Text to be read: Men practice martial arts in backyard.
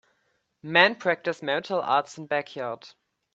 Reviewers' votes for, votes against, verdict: 2, 0, accepted